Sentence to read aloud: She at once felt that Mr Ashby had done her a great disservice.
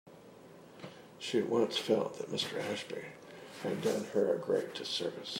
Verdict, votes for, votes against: accepted, 2, 0